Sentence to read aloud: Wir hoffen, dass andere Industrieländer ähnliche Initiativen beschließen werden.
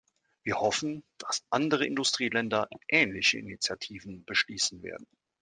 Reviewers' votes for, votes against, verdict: 2, 0, accepted